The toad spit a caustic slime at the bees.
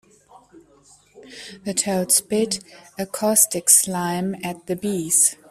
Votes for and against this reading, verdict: 2, 0, accepted